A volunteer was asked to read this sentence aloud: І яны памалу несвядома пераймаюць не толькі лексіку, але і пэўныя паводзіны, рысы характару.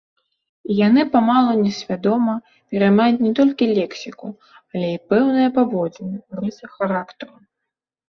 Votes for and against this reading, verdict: 1, 2, rejected